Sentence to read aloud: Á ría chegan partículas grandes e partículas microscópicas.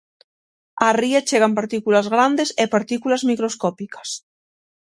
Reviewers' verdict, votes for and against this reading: accepted, 6, 0